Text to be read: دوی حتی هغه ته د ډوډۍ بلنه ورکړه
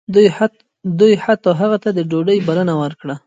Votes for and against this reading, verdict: 0, 2, rejected